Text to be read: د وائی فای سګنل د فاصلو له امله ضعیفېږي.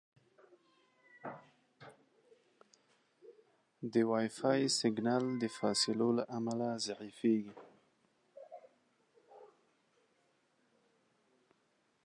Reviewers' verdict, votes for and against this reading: accepted, 2, 1